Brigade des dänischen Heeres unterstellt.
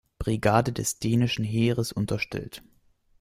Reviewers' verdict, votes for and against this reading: accepted, 2, 1